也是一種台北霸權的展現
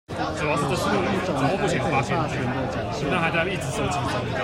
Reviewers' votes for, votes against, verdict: 0, 2, rejected